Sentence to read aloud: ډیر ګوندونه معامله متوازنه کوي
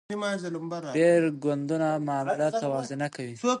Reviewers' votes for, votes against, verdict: 0, 2, rejected